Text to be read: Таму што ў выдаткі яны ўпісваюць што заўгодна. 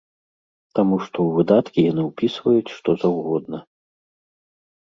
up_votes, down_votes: 2, 0